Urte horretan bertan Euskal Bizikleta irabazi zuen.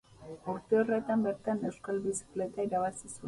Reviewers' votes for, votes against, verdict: 2, 2, rejected